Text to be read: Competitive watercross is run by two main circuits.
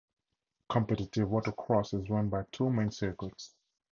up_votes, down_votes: 2, 0